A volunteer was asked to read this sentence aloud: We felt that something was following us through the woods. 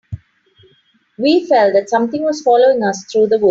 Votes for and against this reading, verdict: 1, 2, rejected